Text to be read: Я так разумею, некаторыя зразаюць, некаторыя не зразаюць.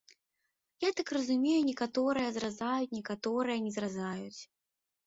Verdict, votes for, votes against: accepted, 2, 0